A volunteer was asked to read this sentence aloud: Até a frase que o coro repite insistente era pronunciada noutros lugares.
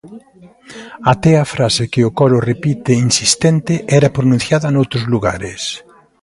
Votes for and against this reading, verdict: 2, 0, accepted